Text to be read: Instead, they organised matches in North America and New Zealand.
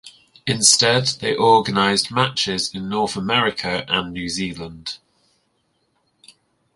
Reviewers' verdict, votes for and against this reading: accepted, 2, 0